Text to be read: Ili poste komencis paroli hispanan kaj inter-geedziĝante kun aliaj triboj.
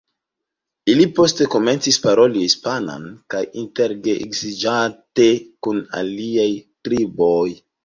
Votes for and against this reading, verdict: 2, 1, accepted